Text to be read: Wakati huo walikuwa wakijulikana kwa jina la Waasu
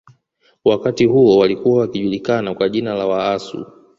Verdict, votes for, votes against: rejected, 0, 2